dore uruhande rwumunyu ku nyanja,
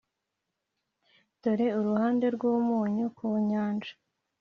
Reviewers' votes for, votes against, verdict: 2, 0, accepted